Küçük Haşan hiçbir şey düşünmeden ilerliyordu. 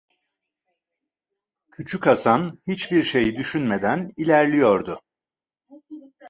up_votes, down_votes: 1, 2